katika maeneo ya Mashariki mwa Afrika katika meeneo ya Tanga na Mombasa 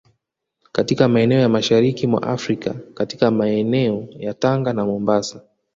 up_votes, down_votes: 2, 1